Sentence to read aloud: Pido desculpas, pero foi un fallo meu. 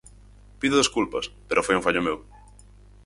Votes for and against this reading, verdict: 4, 0, accepted